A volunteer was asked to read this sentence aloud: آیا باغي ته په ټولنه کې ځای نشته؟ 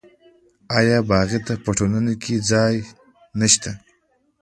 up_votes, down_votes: 2, 0